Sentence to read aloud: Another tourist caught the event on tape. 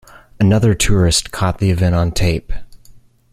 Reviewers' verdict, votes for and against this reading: accepted, 2, 0